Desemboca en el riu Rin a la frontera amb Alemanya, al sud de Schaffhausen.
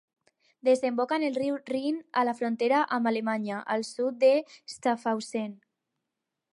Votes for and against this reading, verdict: 4, 0, accepted